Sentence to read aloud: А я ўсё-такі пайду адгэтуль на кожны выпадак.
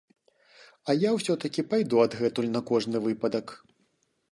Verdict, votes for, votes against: accepted, 2, 0